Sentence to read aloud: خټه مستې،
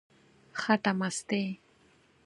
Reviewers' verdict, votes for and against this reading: accepted, 4, 0